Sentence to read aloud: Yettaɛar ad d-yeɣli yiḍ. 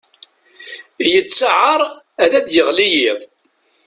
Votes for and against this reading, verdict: 2, 0, accepted